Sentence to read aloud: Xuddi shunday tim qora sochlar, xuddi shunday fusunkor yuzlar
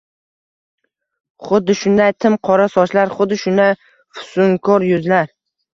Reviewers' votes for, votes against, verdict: 1, 2, rejected